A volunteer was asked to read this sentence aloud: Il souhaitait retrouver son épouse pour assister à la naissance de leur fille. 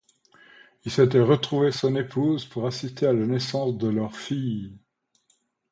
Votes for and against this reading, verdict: 2, 0, accepted